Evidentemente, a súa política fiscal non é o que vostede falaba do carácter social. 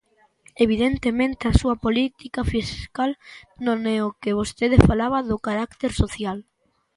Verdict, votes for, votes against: accepted, 2, 0